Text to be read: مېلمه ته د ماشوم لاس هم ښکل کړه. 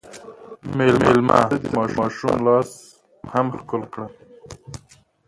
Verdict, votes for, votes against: rejected, 0, 2